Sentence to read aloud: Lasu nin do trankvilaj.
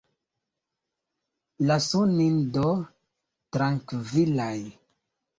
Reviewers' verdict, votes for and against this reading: rejected, 0, 2